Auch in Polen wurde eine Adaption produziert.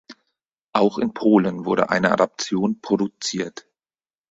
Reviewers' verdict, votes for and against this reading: accepted, 4, 0